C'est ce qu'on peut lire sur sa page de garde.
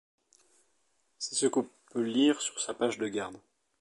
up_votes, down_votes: 1, 2